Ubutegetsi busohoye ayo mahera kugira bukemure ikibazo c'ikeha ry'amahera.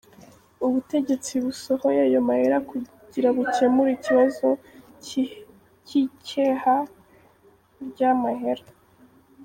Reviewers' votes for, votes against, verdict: 0, 2, rejected